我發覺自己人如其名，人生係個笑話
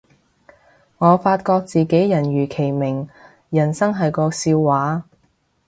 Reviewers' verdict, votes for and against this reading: accepted, 2, 0